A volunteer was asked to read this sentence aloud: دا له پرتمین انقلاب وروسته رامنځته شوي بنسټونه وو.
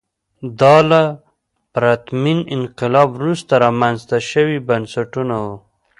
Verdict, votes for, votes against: accepted, 2, 0